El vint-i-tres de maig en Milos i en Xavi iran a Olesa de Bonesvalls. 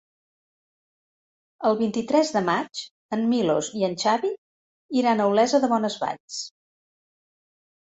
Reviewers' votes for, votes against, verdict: 3, 0, accepted